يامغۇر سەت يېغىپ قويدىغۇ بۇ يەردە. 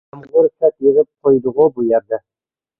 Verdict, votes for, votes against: rejected, 0, 2